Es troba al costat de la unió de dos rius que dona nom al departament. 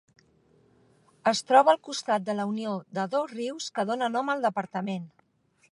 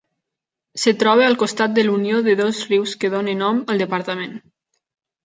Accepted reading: first